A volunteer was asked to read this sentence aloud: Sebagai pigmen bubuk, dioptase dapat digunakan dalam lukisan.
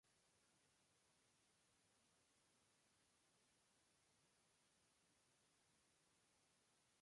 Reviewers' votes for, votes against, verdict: 0, 2, rejected